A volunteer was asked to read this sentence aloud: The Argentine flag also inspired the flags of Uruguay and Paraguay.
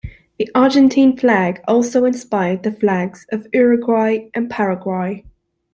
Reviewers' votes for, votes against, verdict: 2, 0, accepted